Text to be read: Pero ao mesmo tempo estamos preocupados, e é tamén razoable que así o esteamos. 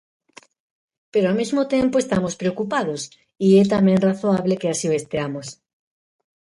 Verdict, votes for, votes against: rejected, 1, 2